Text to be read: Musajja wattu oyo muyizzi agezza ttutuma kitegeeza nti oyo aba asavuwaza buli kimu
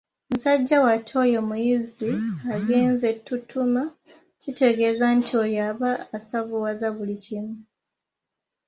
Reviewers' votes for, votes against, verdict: 1, 2, rejected